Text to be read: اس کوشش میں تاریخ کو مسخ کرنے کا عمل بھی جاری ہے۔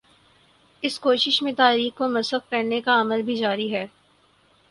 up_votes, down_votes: 6, 0